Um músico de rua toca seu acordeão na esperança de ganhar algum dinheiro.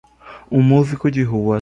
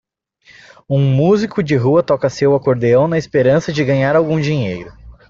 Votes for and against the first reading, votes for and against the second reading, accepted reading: 0, 2, 2, 0, second